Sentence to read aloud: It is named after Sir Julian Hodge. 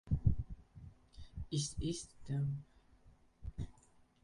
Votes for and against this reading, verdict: 0, 2, rejected